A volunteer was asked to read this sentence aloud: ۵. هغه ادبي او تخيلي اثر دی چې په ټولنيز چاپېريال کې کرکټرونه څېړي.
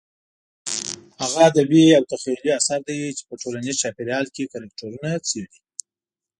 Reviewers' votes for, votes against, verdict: 0, 2, rejected